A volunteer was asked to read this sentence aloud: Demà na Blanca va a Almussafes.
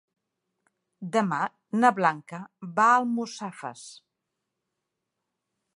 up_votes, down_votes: 4, 0